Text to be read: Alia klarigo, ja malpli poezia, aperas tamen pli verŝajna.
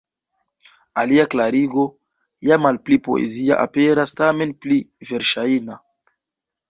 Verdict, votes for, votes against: rejected, 0, 2